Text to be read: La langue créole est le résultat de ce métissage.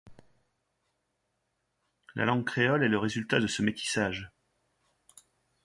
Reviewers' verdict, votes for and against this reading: accepted, 2, 0